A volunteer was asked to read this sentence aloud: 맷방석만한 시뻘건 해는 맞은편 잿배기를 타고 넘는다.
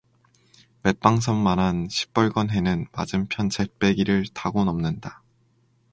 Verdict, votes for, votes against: accepted, 4, 0